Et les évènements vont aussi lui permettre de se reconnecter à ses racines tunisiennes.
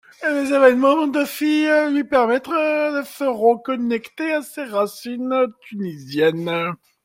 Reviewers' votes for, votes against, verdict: 0, 2, rejected